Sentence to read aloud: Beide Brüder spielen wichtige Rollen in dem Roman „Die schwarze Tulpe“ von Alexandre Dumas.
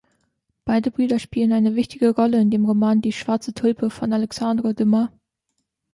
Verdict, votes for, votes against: rejected, 1, 2